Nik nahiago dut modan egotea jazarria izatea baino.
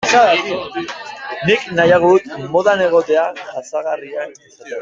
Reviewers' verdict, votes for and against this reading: rejected, 0, 2